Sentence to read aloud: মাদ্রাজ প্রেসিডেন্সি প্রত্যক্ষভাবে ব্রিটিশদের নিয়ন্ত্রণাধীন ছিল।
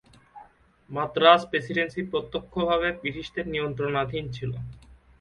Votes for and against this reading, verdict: 2, 0, accepted